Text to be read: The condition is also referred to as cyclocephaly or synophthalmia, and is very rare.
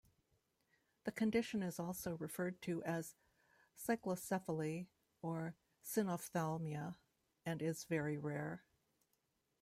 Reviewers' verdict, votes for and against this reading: accepted, 2, 0